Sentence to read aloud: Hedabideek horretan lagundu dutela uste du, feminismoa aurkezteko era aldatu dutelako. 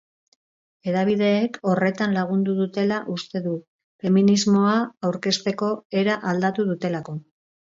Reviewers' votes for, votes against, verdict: 4, 0, accepted